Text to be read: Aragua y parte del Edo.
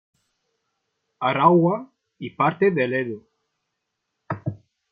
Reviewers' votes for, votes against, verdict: 1, 2, rejected